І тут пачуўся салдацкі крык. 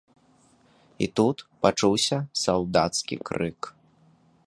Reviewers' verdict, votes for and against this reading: accepted, 2, 0